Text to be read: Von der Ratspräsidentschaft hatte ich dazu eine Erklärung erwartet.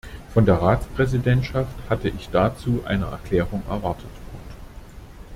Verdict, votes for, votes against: rejected, 0, 2